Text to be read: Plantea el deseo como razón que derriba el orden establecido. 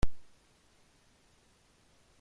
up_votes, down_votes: 0, 2